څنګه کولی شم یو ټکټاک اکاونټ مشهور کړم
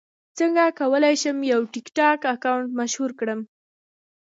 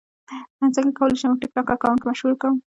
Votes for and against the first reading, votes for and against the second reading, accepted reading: 2, 1, 1, 2, first